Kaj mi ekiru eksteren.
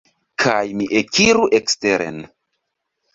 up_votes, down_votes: 2, 0